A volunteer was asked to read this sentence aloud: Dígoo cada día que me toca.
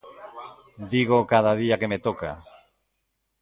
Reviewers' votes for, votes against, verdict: 2, 0, accepted